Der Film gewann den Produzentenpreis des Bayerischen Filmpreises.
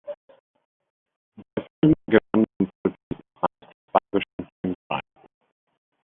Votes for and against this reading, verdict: 0, 2, rejected